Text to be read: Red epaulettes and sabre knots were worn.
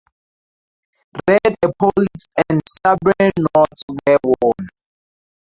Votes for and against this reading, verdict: 0, 2, rejected